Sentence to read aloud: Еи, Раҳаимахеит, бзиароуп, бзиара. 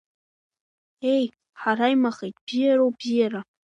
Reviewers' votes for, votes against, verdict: 0, 2, rejected